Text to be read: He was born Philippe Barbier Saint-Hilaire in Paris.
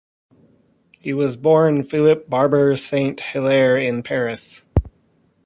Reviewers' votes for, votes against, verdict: 2, 0, accepted